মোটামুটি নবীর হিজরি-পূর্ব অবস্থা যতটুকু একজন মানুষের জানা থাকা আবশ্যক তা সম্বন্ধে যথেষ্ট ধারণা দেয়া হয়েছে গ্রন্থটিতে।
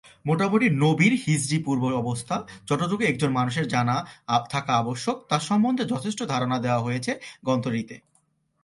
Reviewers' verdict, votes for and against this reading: rejected, 1, 2